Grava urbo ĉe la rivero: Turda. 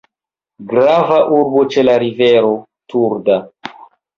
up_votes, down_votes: 1, 2